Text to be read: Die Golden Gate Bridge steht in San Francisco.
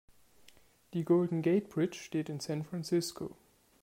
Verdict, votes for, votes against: accepted, 2, 0